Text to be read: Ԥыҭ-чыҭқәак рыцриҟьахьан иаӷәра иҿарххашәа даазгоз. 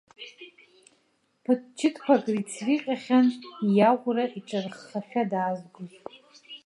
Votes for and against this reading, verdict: 0, 2, rejected